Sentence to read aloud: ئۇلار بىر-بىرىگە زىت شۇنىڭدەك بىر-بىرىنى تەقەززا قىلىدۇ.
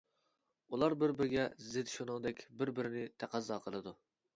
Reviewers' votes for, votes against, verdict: 2, 0, accepted